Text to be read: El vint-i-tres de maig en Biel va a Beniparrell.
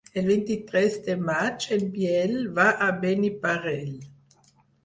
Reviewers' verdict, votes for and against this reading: rejected, 2, 4